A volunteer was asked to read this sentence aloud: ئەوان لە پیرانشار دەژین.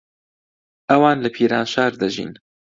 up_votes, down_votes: 2, 0